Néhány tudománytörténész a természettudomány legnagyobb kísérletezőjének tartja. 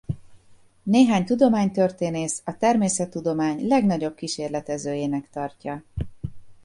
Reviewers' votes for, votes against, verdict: 2, 0, accepted